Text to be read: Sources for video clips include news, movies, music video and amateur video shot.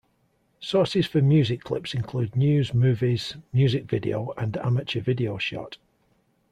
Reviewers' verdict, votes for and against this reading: rejected, 1, 2